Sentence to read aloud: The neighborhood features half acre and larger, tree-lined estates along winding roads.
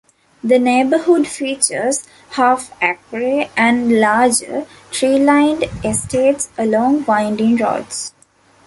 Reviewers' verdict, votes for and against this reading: rejected, 0, 2